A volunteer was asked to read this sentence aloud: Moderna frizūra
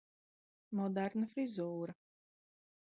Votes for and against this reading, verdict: 2, 0, accepted